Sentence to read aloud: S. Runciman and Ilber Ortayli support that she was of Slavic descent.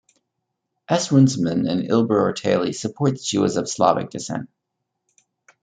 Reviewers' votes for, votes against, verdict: 2, 0, accepted